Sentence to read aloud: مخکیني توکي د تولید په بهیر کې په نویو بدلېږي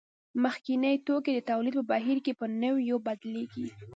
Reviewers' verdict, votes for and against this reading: accepted, 2, 0